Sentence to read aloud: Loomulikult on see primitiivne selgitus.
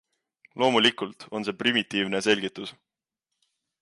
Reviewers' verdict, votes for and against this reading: accepted, 2, 0